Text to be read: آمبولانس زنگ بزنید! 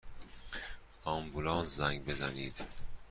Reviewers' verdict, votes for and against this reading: accepted, 2, 0